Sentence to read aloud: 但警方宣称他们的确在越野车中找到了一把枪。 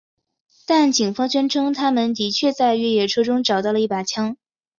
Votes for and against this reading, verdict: 1, 2, rejected